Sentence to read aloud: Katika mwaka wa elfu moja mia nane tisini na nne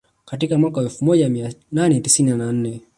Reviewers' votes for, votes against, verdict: 1, 2, rejected